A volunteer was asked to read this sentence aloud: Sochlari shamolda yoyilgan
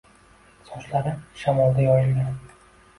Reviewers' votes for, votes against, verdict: 2, 1, accepted